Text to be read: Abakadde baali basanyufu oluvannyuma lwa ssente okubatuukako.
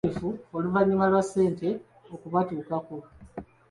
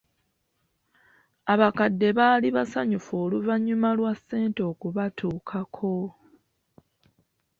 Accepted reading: second